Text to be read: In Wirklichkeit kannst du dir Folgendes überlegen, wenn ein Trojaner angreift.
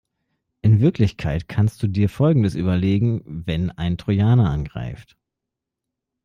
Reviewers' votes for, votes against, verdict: 3, 0, accepted